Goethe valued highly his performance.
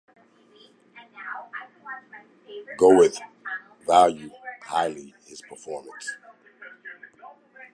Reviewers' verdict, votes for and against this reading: rejected, 1, 2